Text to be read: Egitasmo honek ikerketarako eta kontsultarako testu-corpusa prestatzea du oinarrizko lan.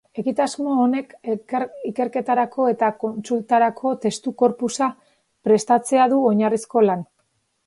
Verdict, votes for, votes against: rejected, 1, 4